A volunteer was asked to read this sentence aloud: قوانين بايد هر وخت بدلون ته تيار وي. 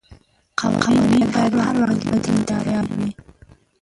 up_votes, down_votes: 0, 3